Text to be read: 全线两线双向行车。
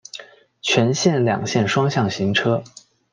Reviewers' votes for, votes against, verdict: 2, 0, accepted